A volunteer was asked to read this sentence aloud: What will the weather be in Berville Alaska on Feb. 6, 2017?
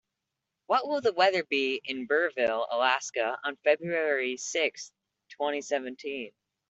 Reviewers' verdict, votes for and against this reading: rejected, 0, 2